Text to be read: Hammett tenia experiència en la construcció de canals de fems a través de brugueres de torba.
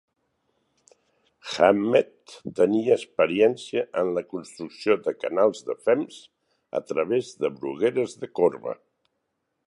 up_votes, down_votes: 0, 6